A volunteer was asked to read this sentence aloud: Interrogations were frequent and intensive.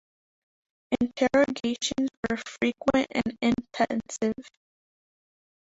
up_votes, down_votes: 0, 2